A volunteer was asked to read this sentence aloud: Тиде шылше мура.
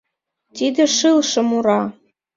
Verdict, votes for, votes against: rejected, 0, 2